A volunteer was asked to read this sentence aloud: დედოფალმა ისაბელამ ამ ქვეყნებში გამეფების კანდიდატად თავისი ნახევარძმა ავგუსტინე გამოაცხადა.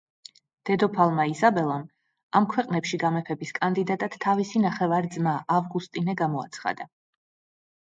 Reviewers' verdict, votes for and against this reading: accepted, 2, 0